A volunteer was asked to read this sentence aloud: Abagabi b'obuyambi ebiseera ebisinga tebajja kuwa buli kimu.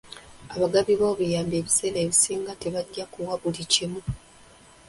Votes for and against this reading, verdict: 1, 2, rejected